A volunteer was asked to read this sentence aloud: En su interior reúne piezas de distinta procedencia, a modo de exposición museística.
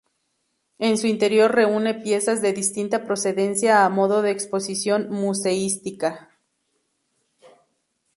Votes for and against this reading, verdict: 4, 0, accepted